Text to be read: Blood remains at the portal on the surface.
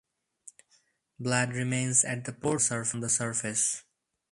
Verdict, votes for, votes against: rejected, 0, 2